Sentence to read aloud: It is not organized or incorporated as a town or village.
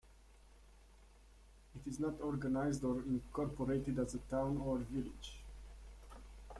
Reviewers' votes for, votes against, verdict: 1, 2, rejected